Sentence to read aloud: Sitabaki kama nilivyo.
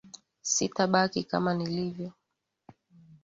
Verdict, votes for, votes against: accepted, 4, 1